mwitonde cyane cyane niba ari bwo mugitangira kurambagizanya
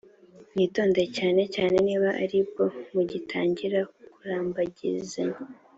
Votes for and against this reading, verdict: 2, 0, accepted